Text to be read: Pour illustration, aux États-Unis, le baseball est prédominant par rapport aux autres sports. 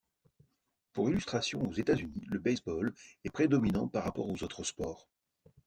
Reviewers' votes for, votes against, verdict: 2, 0, accepted